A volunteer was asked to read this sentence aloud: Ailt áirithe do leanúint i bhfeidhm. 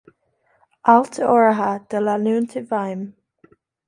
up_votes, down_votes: 1, 2